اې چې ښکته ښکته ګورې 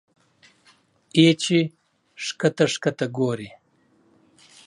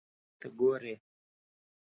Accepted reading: first